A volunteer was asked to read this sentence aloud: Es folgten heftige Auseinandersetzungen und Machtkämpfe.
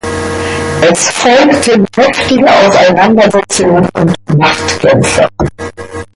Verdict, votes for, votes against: rejected, 0, 2